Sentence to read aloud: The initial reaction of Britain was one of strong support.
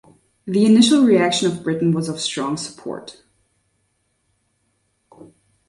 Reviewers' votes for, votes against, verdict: 1, 2, rejected